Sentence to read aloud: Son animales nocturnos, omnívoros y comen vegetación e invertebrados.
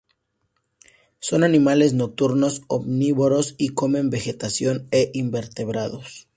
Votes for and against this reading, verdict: 2, 0, accepted